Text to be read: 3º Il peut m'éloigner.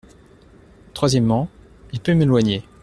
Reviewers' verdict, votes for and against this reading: rejected, 0, 2